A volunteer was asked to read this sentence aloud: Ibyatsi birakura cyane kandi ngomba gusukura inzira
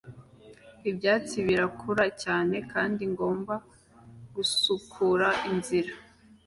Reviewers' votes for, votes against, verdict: 2, 1, accepted